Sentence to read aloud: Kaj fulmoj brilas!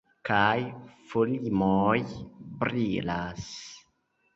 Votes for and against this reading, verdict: 0, 2, rejected